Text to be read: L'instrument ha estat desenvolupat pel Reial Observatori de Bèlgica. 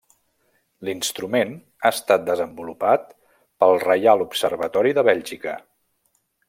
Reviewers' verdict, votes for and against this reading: accepted, 3, 0